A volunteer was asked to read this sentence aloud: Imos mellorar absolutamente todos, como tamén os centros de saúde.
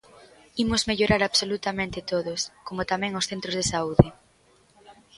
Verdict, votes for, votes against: accepted, 2, 0